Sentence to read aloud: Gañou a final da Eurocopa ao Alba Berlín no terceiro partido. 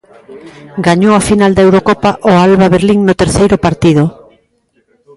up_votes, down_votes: 0, 2